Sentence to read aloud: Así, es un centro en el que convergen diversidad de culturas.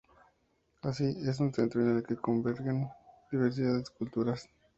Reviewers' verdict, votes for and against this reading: rejected, 0, 2